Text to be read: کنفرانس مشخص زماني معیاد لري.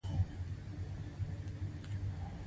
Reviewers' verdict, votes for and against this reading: accepted, 2, 0